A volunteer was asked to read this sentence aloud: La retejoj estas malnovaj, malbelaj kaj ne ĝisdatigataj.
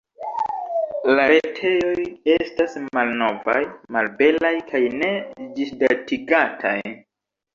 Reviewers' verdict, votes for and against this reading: rejected, 0, 2